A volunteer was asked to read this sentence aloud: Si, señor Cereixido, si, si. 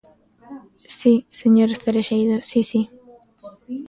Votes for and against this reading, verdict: 0, 2, rejected